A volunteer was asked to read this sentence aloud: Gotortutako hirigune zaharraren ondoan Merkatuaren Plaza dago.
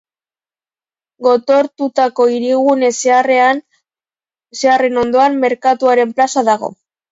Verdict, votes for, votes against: rejected, 0, 3